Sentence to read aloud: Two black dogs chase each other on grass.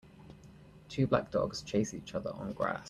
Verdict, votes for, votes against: accepted, 2, 0